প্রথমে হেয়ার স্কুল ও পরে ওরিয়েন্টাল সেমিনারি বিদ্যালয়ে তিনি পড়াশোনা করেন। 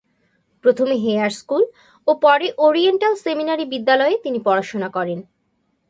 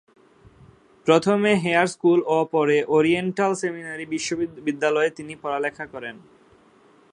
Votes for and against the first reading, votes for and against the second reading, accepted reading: 3, 0, 0, 2, first